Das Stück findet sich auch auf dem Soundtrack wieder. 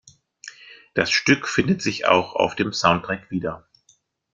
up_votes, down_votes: 2, 0